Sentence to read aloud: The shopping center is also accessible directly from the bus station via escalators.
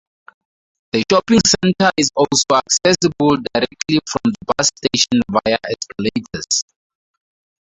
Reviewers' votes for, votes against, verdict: 2, 2, rejected